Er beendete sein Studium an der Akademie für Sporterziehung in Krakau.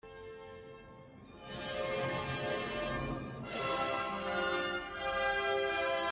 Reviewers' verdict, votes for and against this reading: rejected, 0, 2